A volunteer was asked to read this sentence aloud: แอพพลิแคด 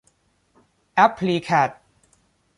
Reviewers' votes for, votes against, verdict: 2, 0, accepted